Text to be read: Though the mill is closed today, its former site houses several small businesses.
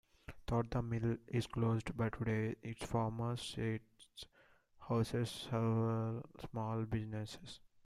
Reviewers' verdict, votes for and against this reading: rejected, 1, 2